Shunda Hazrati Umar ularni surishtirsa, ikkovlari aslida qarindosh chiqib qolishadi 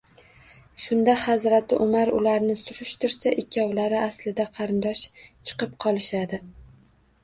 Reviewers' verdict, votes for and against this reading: accepted, 2, 0